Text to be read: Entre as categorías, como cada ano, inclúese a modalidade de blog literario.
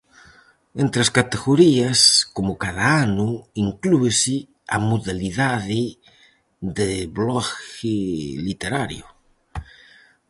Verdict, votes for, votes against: rejected, 0, 4